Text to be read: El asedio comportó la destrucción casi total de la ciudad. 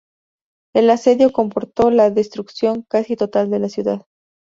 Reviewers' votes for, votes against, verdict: 4, 0, accepted